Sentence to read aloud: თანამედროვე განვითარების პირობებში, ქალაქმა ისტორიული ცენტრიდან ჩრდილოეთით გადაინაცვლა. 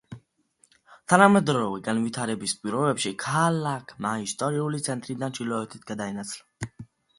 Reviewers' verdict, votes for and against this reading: accepted, 2, 1